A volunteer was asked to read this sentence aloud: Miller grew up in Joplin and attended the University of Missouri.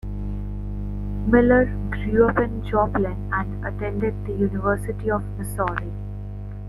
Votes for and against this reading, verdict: 2, 0, accepted